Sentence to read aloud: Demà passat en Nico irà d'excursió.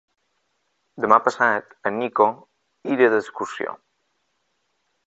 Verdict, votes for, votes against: rejected, 1, 2